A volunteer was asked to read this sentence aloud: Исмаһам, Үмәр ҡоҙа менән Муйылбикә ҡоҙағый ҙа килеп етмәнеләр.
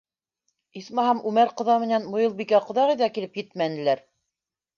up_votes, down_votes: 2, 0